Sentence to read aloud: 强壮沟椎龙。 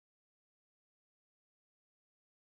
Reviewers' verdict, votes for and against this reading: rejected, 0, 2